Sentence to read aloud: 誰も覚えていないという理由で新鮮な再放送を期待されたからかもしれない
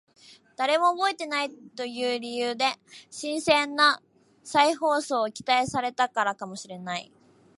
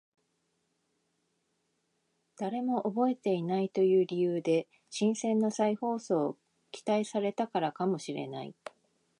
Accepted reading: first